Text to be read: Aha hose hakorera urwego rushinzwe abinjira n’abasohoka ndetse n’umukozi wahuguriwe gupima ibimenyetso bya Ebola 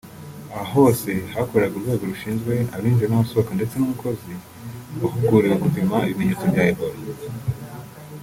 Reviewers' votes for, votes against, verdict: 0, 2, rejected